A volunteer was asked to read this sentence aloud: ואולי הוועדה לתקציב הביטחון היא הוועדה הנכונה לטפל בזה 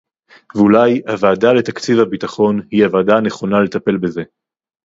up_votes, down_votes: 4, 0